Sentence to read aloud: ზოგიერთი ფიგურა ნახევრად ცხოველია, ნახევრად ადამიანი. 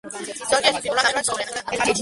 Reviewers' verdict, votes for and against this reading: rejected, 0, 2